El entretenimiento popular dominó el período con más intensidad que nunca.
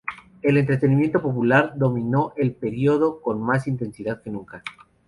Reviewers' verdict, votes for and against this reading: accepted, 2, 0